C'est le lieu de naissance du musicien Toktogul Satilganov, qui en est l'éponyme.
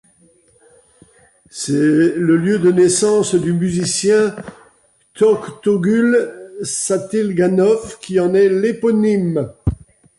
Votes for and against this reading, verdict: 1, 2, rejected